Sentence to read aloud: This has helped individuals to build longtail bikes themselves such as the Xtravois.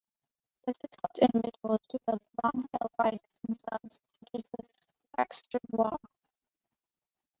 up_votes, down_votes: 0, 2